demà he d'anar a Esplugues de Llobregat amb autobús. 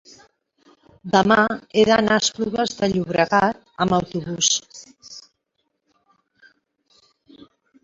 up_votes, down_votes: 0, 2